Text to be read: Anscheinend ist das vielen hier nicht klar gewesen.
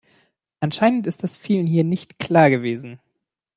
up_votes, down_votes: 2, 0